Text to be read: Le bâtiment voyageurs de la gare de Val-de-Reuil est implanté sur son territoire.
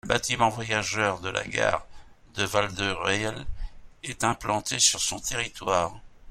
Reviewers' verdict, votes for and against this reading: rejected, 0, 2